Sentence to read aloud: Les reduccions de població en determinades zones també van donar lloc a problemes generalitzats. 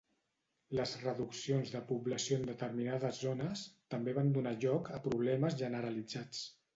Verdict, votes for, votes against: rejected, 1, 2